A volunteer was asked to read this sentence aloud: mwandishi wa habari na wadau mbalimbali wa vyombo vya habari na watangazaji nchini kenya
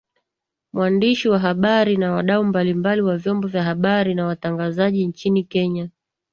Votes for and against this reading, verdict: 2, 0, accepted